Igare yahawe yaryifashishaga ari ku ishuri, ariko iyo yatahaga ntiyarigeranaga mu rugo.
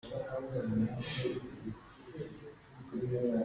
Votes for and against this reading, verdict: 0, 2, rejected